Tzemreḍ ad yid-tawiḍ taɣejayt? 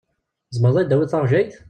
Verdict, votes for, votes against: rejected, 1, 2